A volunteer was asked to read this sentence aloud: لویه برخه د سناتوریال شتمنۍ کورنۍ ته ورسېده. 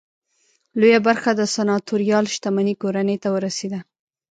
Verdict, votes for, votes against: rejected, 0, 2